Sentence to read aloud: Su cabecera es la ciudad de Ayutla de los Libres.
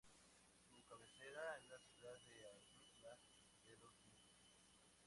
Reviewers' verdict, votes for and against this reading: accepted, 4, 2